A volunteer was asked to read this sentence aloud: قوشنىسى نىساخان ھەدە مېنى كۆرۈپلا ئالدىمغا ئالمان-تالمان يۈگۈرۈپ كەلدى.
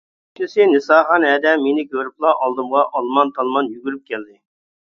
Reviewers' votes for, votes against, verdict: 0, 2, rejected